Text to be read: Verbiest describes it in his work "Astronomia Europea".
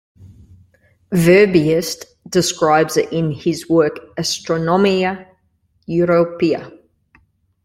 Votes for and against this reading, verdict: 2, 0, accepted